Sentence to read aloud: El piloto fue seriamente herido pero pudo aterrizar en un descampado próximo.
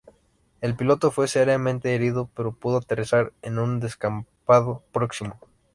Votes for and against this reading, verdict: 2, 0, accepted